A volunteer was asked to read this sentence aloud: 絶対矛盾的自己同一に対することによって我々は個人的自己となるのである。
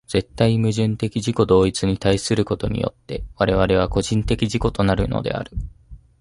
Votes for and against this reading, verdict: 2, 0, accepted